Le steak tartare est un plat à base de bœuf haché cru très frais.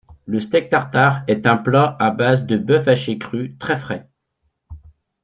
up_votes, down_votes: 2, 0